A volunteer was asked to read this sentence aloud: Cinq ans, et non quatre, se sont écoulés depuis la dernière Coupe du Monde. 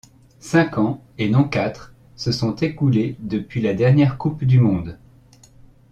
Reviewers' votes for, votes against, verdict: 2, 0, accepted